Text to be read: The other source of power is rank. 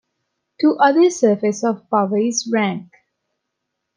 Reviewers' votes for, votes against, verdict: 0, 2, rejected